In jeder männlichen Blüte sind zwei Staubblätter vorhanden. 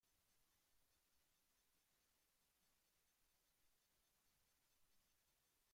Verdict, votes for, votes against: rejected, 0, 2